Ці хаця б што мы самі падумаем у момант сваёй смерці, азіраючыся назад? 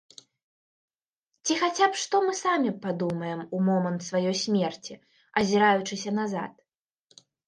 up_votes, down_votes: 2, 0